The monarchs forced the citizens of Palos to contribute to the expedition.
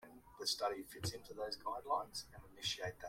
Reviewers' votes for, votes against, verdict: 0, 2, rejected